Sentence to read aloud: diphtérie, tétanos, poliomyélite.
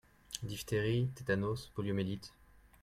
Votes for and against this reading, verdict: 2, 0, accepted